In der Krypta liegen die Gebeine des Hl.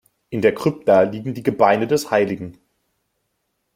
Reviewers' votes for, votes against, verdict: 1, 2, rejected